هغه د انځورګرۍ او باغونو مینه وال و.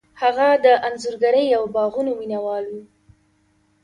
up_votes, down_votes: 2, 0